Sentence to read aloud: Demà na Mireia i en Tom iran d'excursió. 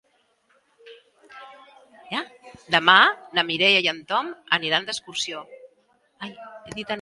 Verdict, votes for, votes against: rejected, 0, 3